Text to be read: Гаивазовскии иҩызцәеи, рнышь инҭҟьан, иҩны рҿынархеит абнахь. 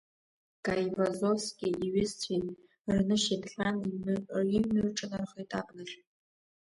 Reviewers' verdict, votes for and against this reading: rejected, 1, 2